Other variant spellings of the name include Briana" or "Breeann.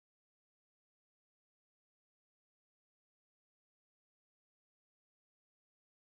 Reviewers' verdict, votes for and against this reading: rejected, 0, 4